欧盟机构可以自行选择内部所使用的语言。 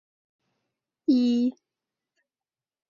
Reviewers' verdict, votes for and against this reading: rejected, 0, 4